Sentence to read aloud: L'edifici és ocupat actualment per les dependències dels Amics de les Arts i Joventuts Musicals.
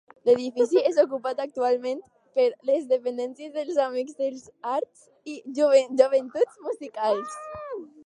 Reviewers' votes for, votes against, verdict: 0, 4, rejected